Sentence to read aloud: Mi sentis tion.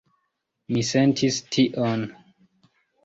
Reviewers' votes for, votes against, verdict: 2, 0, accepted